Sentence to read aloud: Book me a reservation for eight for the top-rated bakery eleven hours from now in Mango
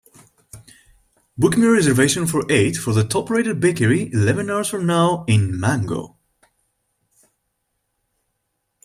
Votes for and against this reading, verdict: 2, 0, accepted